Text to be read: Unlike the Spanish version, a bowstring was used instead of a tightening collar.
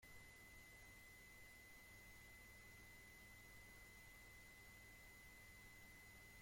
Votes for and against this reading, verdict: 0, 2, rejected